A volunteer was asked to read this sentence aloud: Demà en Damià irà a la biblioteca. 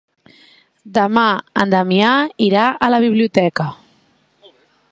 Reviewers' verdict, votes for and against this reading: accepted, 2, 0